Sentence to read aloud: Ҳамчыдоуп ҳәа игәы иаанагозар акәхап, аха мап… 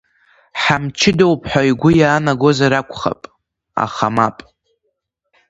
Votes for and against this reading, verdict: 2, 0, accepted